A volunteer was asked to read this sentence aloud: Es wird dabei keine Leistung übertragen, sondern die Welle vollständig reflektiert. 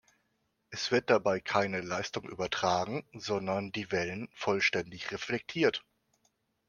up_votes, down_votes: 0, 2